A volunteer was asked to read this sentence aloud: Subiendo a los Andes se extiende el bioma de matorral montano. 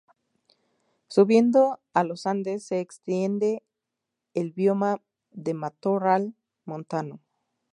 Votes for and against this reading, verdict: 2, 2, rejected